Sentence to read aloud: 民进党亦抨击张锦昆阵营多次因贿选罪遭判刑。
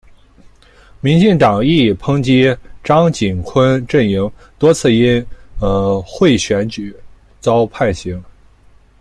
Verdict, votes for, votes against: rejected, 1, 2